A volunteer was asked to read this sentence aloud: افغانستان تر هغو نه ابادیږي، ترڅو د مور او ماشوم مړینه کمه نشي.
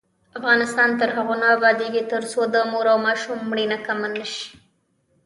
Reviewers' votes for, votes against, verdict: 0, 2, rejected